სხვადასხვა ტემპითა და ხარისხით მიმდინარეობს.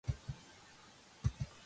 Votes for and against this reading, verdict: 0, 2, rejected